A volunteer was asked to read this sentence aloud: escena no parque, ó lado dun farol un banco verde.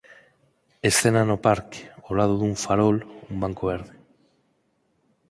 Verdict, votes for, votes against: accepted, 4, 0